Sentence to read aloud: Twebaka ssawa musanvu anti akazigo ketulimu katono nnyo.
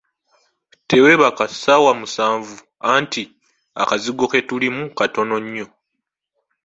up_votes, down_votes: 1, 2